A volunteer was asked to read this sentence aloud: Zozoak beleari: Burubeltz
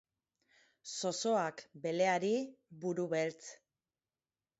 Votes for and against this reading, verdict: 4, 0, accepted